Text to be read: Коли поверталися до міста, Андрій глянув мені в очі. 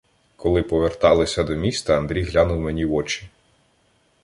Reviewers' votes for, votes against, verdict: 2, 0, accepted